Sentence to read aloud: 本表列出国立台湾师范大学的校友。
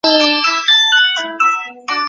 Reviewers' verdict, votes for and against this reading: rejected, 0, 2